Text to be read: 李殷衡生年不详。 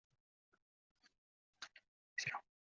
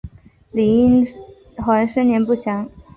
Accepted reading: second